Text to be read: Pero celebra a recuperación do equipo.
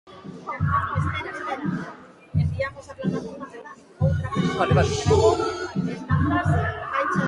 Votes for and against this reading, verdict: 0, 2, rejected